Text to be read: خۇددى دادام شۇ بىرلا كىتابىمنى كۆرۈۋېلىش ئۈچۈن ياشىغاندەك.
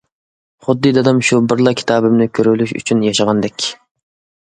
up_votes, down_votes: 2, 0